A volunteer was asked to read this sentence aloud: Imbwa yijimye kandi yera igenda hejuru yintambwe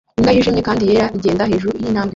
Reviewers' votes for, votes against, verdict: 1, 2, rejected